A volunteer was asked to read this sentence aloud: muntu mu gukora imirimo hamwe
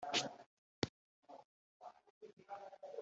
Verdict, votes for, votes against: rejected, 1, 2